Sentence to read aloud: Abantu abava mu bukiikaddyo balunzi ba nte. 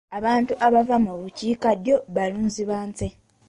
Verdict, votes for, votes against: accepted, 2, 1